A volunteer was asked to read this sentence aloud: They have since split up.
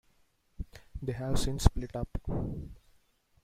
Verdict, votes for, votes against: accepted, 2, 0